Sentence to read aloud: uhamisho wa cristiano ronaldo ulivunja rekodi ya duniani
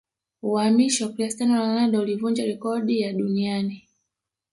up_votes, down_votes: 0, 2